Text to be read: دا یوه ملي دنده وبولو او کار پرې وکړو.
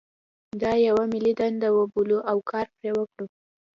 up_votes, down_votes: 2, 0